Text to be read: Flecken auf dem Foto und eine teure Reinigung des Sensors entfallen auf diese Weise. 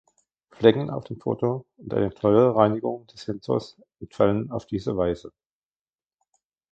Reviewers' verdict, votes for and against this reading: rejected, 1, 2